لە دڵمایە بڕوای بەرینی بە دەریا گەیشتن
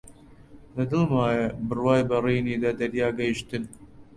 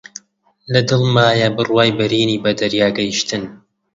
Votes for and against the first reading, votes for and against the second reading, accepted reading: 1, 2, 2, 0, second